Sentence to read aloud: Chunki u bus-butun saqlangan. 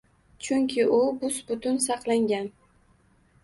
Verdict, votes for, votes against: accepted, 2, 0